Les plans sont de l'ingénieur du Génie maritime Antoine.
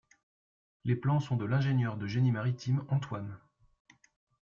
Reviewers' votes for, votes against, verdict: 2, 0, accepted